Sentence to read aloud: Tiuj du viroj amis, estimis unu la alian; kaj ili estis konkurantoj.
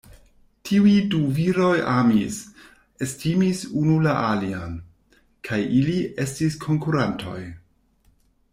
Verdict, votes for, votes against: rejected, 1, 2